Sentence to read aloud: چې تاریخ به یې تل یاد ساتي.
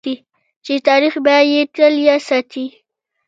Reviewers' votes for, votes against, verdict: 2, 1, accepted